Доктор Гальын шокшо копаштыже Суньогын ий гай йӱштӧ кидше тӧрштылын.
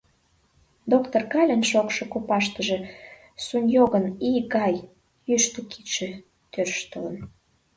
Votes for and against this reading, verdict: 1, 2, rejected